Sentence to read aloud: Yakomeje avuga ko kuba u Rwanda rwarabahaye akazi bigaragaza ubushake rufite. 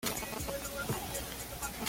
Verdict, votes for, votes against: rejected, 0, 2